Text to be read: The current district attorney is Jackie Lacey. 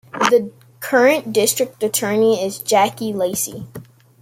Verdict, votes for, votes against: accepted, 2, 0